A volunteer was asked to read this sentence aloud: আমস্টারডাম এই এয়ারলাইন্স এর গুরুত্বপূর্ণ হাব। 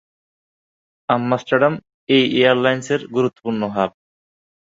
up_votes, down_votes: 0, 2